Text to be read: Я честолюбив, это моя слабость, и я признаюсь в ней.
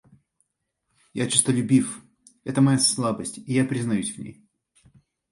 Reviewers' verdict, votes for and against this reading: accepted, 2, 0